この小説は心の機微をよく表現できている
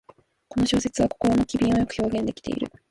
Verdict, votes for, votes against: rejected, 0, 2